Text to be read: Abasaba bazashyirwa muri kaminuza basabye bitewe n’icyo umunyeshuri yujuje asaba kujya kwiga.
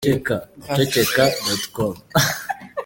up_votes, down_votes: 0, 2